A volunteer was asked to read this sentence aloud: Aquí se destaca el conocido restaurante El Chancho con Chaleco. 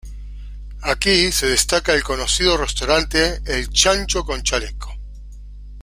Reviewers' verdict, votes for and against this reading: accepted, 2, 0